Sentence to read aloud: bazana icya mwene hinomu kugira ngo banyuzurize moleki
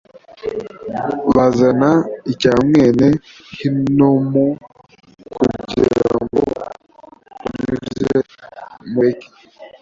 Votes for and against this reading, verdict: 1, 2, rejected